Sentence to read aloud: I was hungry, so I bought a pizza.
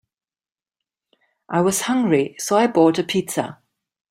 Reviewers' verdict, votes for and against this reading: accepted, 2, 0